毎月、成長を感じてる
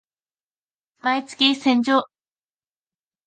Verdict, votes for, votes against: rejected, 1, 2